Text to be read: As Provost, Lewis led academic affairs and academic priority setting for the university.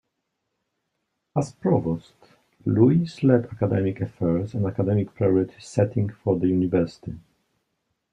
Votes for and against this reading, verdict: 2, 0, accepted